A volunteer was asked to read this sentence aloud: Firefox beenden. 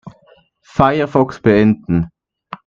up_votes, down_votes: 2, 0